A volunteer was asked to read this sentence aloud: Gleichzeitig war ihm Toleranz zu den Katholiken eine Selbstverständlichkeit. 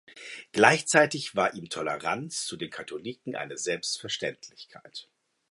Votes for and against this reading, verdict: 2, 0, accepted